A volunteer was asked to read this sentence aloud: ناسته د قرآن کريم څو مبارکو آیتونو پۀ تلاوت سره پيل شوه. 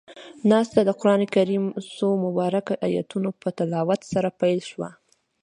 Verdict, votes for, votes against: accepted, 2, 0